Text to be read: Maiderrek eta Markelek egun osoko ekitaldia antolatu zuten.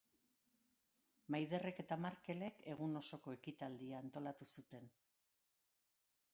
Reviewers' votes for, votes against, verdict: 4, 1, accepted